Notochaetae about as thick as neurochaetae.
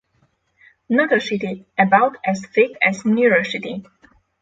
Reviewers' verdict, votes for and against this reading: accepted, 6, 0